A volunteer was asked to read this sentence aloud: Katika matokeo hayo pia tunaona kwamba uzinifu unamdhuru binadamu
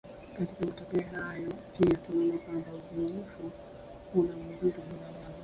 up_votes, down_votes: 0, 4